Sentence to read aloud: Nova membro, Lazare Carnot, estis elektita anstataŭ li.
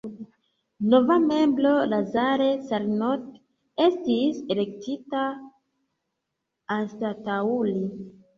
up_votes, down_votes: 1, 2